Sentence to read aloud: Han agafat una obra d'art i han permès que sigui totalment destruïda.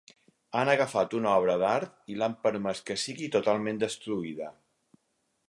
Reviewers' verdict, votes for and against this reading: rejected, 0, 4